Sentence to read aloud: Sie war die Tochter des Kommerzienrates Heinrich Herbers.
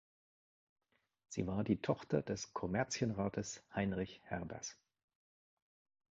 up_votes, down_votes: 2, 0